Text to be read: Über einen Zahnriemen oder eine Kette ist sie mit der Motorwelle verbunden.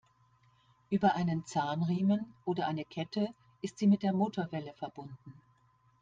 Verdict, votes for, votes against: accepted, 2, 0